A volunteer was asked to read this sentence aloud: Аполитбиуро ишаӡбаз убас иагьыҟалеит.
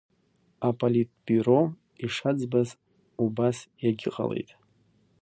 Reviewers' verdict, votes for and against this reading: rejected, 0, 2